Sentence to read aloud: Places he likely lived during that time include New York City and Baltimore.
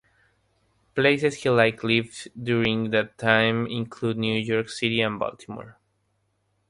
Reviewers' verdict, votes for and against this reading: rejected, 0, 3